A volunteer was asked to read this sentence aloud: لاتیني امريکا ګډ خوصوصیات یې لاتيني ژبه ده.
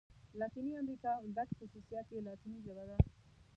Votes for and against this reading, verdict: 1, 2, rejected